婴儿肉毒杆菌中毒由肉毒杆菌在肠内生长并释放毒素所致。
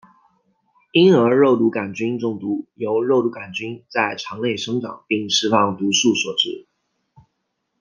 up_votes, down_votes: 2, 0